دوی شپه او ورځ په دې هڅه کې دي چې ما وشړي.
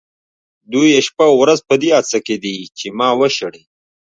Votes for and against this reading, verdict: 2, 0, accepted